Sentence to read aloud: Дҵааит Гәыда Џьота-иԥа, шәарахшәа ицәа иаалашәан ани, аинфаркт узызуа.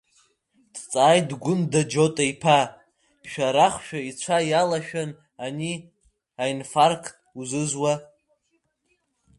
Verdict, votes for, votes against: rejected, 0, 2